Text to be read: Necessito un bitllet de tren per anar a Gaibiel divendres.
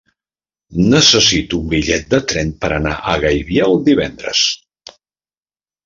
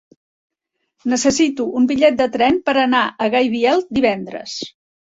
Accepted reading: second